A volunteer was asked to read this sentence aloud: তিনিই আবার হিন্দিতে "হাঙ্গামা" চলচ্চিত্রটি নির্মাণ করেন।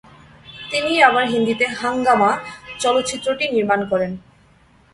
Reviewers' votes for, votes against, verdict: 2, 0, accepted